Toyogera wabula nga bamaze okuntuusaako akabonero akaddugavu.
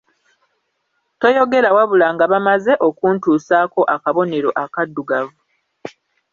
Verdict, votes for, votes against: accepted, 2, 0